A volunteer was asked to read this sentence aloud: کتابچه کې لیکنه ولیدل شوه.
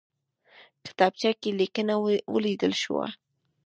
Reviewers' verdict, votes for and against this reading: accepted, 2, 0